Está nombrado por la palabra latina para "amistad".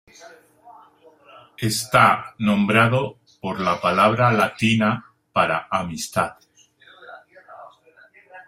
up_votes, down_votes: 2, 0